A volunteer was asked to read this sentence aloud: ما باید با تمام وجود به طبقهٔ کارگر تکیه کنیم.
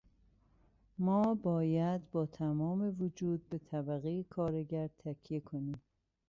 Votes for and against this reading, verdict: 2, 0, accepted